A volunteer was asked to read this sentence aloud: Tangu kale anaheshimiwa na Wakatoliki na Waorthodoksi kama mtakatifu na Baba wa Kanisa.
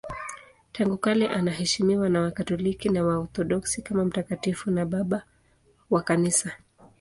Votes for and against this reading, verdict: 2, 0, accepted